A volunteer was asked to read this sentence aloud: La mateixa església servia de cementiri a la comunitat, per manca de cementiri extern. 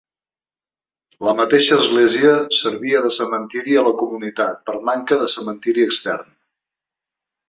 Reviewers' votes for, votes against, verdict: 2, 0, accepted